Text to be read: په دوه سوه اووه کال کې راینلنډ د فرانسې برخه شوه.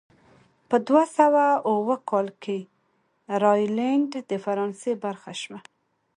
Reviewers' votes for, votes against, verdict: 2, 0, accepted